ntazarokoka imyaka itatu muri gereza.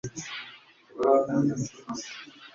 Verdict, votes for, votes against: rejected, 0, 2